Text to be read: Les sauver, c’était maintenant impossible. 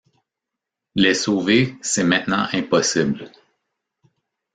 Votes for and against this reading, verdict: 0, 2, rejected